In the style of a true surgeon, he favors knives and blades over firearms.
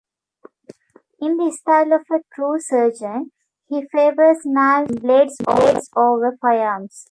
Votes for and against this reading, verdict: 1, 2, rejected